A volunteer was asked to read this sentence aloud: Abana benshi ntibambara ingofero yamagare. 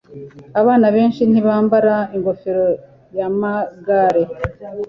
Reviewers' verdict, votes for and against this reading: accepted, 2, 0